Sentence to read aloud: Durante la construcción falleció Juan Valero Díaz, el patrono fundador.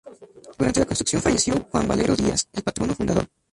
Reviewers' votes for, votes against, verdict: 2, 0, accepted